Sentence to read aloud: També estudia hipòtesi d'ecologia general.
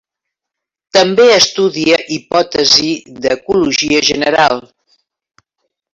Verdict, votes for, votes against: rejected, 0, 2